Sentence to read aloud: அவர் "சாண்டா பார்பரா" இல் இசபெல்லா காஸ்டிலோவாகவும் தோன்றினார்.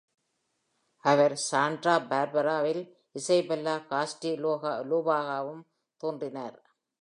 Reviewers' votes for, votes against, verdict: 0, 2, rejected